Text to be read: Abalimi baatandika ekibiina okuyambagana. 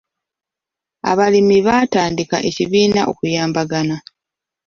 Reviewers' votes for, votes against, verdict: 2, 0, accepted